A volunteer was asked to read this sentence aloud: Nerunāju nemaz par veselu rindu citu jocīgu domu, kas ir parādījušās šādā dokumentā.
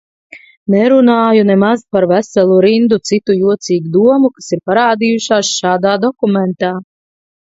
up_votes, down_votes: 2, 0